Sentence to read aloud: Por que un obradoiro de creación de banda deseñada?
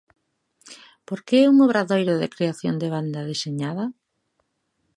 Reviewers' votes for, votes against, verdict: 2, 0, accepted